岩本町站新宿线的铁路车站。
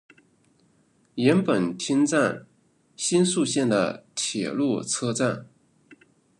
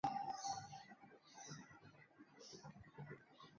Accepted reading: first